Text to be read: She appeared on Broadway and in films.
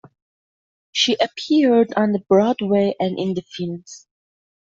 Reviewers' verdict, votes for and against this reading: rejected, 0, 2